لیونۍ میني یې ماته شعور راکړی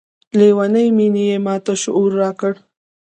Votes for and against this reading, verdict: 0, 2, rejected